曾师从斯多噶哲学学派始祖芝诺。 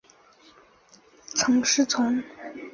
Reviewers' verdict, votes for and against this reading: rejected, 0, 2